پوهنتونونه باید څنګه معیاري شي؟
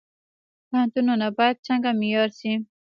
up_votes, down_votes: 1, 2